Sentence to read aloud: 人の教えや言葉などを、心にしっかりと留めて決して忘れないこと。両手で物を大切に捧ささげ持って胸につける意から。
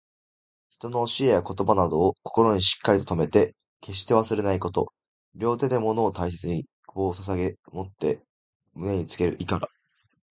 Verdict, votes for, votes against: accepted, 2, 0